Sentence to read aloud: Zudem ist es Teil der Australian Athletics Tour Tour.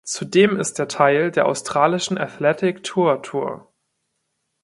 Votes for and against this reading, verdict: 0, 2, rejected